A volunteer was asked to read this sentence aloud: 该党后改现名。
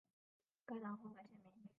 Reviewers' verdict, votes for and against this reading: rejected, 2, 3